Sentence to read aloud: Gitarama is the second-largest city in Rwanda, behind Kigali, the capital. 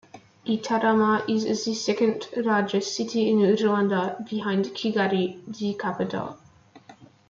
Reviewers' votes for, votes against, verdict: 2, 0, accepted